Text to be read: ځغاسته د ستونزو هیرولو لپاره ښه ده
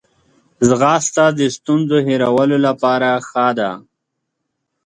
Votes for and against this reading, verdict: 2, 0, accepted